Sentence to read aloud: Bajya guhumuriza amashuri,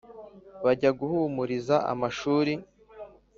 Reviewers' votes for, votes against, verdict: 3, 0, accepted